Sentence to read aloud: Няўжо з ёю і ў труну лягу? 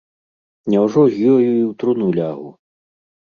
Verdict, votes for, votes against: accepted, 3, 0